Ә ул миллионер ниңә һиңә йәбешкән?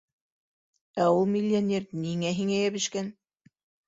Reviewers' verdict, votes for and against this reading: accepted, 3, 1